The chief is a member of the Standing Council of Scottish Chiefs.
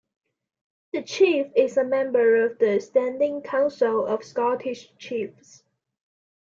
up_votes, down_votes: 2, 0